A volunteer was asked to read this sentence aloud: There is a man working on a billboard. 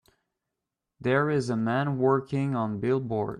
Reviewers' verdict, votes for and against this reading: rejected, 1, 2